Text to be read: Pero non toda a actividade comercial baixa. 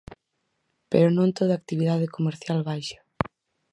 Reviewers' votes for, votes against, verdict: 4, 0, accepted